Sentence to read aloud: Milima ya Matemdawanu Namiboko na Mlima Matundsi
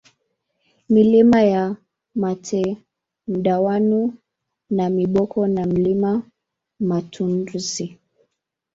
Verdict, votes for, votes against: rejected, 1, 2